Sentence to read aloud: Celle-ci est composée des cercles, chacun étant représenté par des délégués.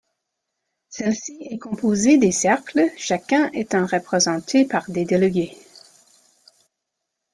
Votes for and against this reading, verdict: 2, 0, accepted